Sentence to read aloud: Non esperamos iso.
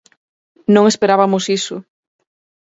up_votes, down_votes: 0, 4